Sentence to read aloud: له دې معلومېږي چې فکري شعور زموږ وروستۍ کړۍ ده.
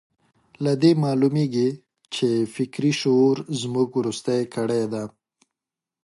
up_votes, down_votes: 2, 0